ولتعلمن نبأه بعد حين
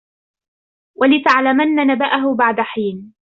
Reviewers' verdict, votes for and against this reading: rejected, 0, 2